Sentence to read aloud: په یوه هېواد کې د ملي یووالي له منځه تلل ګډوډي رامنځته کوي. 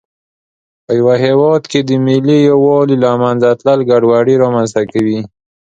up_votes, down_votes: 2, 0